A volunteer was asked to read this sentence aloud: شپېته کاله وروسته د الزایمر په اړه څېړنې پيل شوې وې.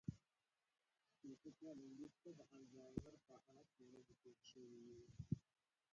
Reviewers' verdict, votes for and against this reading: rejected, 1, 2